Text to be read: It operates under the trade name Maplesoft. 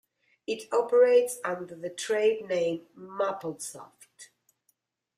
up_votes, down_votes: 0, 2